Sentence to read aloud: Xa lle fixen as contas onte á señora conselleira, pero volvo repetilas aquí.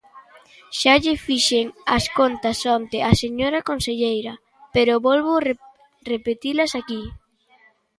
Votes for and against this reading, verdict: 0, 2, rejected